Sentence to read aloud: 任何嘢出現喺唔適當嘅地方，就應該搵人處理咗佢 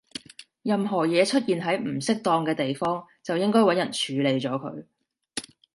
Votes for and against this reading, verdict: 2, 0, accepted